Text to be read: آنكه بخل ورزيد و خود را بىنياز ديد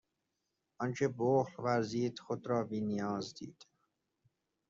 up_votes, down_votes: 1, 2